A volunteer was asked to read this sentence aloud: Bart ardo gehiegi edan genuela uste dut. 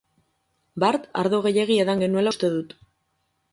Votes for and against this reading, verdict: 4, 0, accepted